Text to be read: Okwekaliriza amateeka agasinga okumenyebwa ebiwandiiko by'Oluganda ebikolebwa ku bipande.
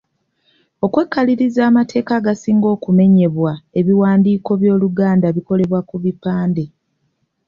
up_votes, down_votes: 2, 0